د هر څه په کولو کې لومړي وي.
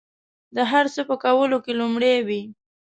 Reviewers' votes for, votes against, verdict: 2, 0, accepted